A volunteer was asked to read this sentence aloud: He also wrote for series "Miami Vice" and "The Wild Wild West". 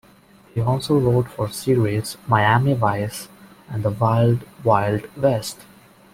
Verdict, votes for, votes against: accepted, 2, 1